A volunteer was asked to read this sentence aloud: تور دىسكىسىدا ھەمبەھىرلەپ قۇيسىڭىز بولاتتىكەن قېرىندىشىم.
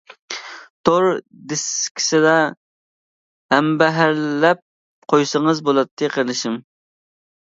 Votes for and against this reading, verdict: 0, 2, rejected